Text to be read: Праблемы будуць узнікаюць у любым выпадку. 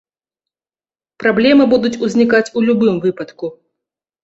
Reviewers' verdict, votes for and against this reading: rejected, 1, 2